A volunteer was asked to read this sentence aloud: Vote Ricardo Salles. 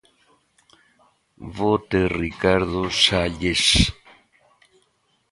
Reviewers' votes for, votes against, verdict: 2, 1, accepted